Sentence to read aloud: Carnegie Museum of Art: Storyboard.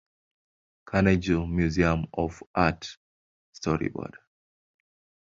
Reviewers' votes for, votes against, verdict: 2, 1, accepted